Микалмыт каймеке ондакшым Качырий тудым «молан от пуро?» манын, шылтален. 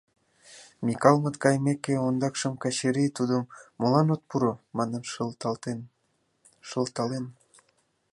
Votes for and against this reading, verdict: 1, 2, rejected